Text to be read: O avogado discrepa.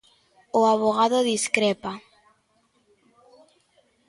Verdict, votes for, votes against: accepted, 2, 0